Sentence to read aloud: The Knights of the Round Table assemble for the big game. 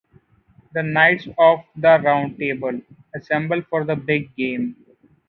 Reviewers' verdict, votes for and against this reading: accepted, 2, 0